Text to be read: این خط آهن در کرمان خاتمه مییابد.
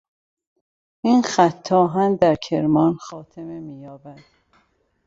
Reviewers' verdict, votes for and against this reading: accepted, 2, 1